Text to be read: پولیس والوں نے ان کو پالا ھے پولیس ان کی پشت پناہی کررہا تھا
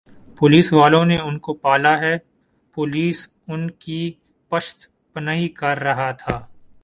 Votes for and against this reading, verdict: 1, 4, rejected